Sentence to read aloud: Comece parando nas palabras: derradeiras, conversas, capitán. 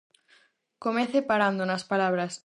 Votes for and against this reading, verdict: 0, 4, rejected